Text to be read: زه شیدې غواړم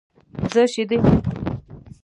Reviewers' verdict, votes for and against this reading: rejected, 0, 2